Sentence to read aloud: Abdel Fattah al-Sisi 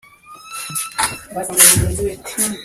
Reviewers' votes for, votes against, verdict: 0, 2, rejected